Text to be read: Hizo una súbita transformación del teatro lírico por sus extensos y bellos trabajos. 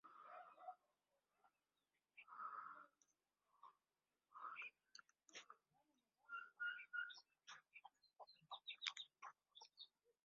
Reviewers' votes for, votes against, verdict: 0, 2, rejected